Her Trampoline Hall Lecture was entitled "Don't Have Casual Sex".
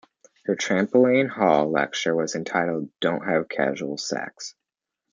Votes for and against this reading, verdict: 2, 0, accepted